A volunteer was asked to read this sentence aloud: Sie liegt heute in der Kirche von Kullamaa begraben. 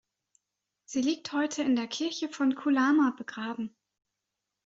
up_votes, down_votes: 2, 0